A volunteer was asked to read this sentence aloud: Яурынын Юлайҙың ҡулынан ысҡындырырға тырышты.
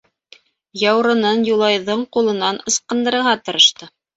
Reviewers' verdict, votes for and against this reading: accepted, 2, 0